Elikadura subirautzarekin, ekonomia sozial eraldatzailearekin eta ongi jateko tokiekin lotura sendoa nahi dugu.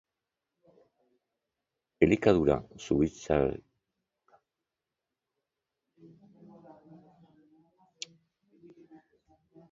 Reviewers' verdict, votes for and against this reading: rejected, 0, 2